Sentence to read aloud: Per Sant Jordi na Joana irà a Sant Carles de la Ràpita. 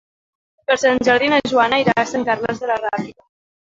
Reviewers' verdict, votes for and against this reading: rejected, 0, 2